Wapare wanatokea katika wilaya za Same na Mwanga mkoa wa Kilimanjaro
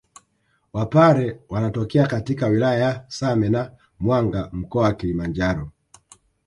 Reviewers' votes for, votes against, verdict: 0, 2, rejected